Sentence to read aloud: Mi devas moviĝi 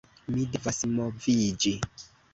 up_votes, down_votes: 2, 0